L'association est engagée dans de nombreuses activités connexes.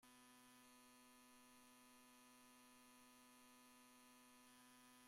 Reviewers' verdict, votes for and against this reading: rejected, 0, 2